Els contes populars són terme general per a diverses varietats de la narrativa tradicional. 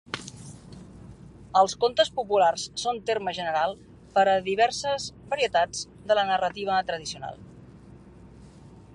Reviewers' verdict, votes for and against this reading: accepted, 3, 1